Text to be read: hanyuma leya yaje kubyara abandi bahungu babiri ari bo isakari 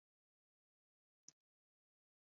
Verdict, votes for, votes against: rejected, 1, 3